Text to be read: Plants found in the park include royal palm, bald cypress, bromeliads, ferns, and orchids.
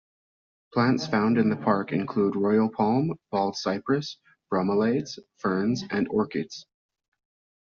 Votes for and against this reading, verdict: 0, 2, rejected